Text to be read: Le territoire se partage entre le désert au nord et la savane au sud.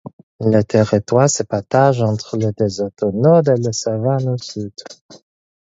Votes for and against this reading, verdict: 4, 0, accepted